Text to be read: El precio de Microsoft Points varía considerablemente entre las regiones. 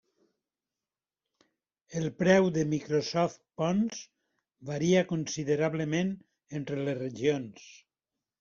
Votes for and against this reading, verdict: 0, 2, rejected